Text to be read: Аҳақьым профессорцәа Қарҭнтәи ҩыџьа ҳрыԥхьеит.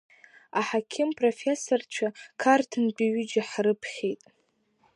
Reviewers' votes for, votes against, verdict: 3, 0, accepted